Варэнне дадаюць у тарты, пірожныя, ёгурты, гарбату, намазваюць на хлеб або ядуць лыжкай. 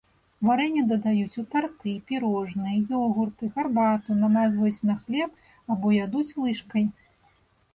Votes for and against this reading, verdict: 2, 0, accepted